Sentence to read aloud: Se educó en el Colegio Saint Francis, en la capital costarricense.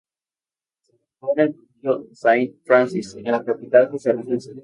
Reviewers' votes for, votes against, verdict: 0, 4, rejected